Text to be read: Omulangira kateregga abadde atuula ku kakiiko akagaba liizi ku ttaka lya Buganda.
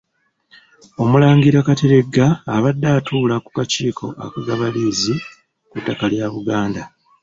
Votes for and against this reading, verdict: 1, 2, rejected